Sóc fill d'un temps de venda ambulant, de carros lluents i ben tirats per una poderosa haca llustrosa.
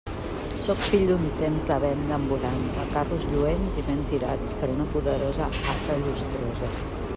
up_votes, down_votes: 1, 2